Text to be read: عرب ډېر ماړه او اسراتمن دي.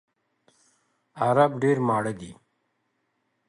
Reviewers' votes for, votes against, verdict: 0, 2, rejected